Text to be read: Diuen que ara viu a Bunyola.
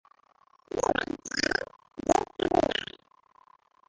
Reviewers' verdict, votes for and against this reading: rejected, 0, 2